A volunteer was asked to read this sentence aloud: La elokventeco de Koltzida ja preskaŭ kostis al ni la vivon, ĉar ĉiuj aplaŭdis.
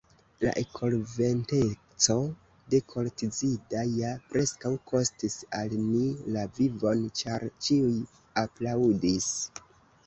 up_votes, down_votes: 2, 0